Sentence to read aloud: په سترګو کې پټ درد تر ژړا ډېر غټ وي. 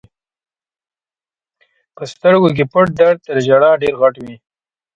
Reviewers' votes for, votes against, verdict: 2, 0, accepted